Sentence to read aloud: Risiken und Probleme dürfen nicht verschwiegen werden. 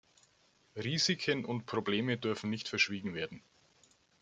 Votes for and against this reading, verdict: 2, 0, accepted